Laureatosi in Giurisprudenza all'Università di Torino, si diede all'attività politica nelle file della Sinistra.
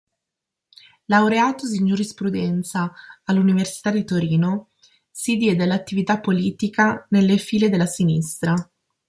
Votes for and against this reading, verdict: 2, 0, accepted